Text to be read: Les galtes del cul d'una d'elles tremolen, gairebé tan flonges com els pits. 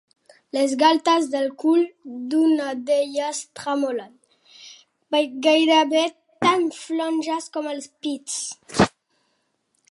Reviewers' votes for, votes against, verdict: 2, 0, accepted